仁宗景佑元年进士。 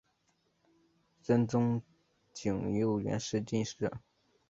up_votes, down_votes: 0, 2